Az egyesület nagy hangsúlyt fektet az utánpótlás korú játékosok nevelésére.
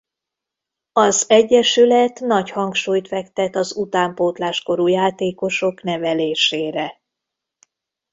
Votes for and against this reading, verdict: 3, 0, accepted